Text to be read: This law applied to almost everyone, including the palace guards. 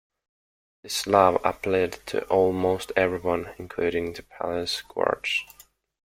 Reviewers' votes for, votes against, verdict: 2, 1, accepted